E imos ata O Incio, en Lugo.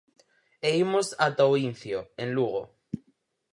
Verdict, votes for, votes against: accepted, 4, 0